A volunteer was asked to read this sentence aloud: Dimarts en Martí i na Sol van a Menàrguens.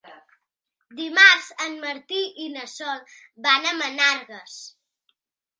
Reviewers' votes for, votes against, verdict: 1, 3, rejected